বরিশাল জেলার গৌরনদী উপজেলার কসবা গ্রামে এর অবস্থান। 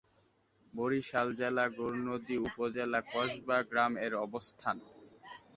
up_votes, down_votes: 2, 3